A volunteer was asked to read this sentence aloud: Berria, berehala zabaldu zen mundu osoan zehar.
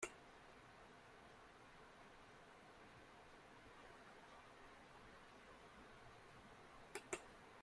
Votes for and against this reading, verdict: 0, 2, rejected